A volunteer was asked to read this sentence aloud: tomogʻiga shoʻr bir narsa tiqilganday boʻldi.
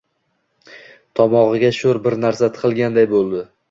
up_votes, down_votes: 2, 1